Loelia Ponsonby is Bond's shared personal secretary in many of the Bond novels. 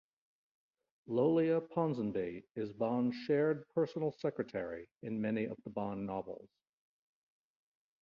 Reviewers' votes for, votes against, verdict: 1, 2, rejected